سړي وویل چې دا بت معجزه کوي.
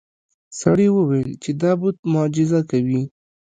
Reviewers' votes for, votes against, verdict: 0, 2, rejected